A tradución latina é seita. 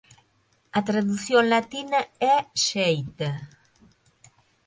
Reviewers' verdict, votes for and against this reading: rejected, 3, 4